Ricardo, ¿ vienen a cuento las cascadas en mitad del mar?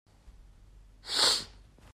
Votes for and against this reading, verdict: 0, 2, rejected